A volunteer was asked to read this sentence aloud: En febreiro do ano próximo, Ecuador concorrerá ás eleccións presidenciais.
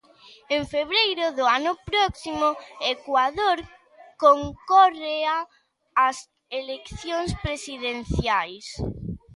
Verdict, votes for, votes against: rejected, 0, 2